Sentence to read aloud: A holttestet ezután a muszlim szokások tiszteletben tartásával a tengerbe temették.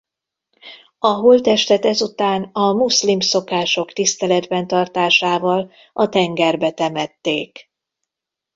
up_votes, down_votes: 2, 0